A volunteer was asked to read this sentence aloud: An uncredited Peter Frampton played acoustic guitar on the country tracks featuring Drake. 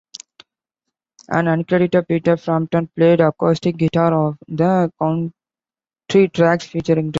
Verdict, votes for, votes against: rejected, 0, 2